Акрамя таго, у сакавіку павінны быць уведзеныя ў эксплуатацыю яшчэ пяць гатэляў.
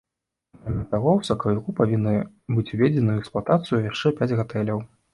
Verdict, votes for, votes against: rejected, 1, 2